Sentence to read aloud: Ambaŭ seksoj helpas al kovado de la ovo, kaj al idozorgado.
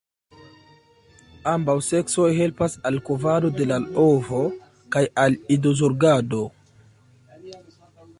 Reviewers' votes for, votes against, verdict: 1, 2, rejected